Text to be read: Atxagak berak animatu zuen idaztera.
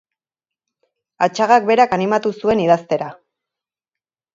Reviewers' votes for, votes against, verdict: 4, 0, accepted